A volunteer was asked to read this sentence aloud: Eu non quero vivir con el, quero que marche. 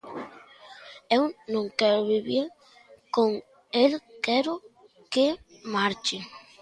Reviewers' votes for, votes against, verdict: 2, 0, accepted